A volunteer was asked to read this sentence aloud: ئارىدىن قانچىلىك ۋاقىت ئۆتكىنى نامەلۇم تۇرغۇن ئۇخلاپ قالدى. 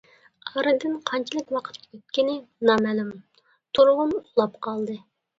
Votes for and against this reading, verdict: 2, 1, accepted